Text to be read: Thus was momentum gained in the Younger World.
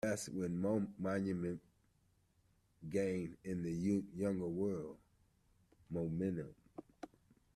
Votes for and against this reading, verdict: 0, 2, rejected